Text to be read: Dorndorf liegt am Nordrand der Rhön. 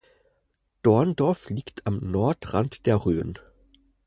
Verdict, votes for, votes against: accepted, 4, 0